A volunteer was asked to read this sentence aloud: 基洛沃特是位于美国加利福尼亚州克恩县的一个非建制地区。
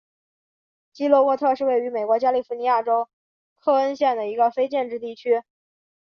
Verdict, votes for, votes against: accepted, 6, 0